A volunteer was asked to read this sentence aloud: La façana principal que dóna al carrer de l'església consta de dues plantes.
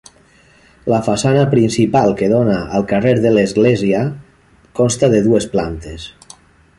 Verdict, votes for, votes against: accepted, 3, 0